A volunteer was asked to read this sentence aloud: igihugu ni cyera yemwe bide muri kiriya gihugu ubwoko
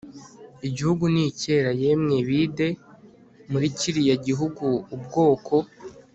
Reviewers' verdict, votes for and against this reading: accepted, 3, 1